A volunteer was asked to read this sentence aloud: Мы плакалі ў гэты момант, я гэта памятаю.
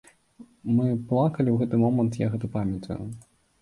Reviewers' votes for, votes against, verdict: 2, 1, accepted